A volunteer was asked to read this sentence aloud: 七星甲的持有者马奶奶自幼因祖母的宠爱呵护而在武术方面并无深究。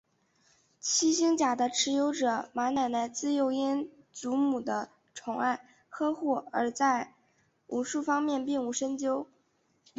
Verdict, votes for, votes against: accepted, 4, 0